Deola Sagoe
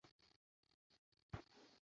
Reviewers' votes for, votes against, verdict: 0, 2, rejected